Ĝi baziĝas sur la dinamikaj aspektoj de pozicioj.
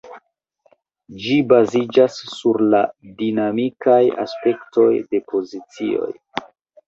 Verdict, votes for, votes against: rejected, 0, 2